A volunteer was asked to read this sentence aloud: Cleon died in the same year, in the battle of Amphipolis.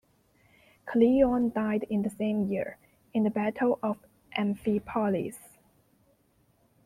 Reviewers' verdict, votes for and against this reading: accepted, 2, 1